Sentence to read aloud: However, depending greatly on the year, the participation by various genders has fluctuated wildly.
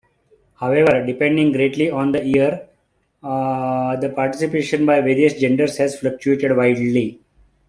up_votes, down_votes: 1, 2